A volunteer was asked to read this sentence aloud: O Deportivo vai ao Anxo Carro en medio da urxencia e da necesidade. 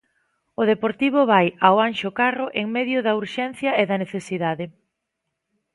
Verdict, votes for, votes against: accepted, 2, 0